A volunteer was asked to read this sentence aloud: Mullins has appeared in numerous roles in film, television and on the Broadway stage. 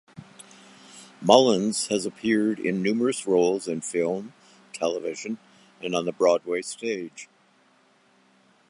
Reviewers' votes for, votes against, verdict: 2, 0, accepted